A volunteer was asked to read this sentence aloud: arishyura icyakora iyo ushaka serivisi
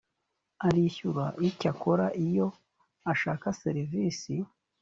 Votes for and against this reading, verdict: 1, 2, rejected